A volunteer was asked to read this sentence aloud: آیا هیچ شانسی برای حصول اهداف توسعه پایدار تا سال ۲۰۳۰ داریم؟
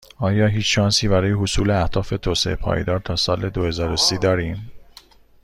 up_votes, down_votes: 0, 2